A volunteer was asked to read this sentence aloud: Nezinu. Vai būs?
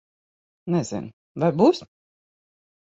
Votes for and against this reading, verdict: 6, 0, accepted